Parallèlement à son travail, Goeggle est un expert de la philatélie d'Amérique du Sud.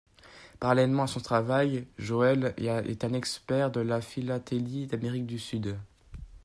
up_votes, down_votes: 1, 2